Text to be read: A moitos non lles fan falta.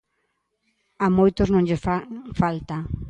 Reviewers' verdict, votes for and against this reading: rejected, 0, 2